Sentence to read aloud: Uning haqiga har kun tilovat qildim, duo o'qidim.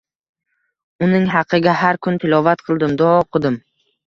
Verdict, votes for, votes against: accepted, 2, 0